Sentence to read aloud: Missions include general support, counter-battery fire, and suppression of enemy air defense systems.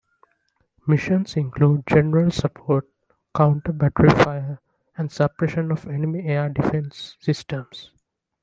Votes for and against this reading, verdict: 2, 0, accepted